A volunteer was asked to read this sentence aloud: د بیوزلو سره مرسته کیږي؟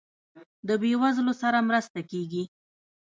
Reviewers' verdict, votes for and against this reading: rejected, 0, 3